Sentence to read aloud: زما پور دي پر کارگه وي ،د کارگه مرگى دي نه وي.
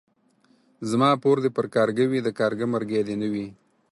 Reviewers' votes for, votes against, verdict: 4, 0, accepted